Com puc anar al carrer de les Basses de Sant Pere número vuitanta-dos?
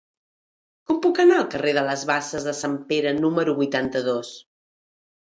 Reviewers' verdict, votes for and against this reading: accepted, 2, 0